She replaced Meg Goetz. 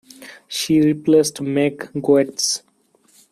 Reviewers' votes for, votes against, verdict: 2, 1, accepted